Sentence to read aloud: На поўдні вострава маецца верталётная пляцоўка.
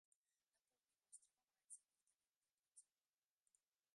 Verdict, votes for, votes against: rejected, 0, 2